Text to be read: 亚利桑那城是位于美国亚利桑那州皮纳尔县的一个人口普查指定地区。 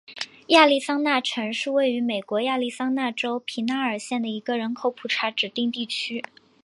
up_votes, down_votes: 3, 2